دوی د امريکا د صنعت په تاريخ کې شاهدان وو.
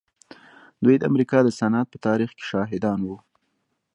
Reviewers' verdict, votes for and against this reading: rejected, 1, 2